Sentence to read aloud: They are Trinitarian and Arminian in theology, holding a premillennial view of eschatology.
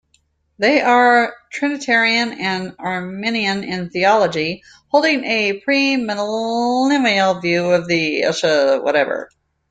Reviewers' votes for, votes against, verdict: 0, 2, rejected